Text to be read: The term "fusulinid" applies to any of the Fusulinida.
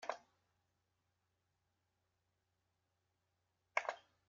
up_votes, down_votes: 0, 2